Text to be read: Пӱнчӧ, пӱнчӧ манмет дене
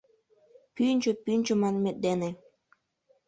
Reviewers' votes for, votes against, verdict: 2, 0, accepted